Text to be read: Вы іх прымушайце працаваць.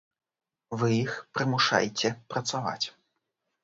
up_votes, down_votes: 2, 0